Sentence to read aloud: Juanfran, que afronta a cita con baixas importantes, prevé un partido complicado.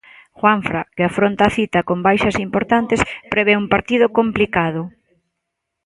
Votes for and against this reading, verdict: 0, 2, rejected